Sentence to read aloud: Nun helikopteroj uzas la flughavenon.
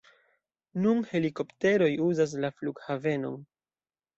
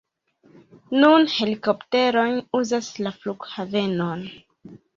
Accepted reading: second